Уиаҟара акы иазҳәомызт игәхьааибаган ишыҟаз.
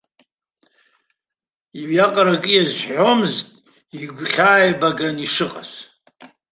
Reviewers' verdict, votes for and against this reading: accepted, 2, 1